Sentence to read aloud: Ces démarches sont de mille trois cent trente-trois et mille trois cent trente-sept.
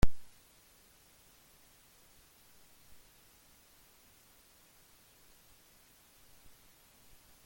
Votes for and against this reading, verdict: 0, 2, rejected